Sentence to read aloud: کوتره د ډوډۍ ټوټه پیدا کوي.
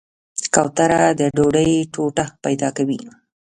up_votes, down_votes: 2, 0